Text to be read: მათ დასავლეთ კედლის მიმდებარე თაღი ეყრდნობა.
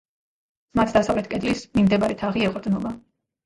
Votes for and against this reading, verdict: 0, 2, rejected